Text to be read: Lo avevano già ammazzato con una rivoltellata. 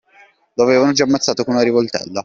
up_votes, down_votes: 1, 2